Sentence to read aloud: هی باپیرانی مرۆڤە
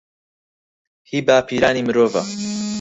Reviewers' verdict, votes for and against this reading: rejected, 2, 4